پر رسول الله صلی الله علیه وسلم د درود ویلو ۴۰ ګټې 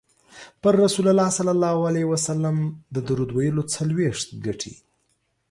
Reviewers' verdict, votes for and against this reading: rejected, 0, 2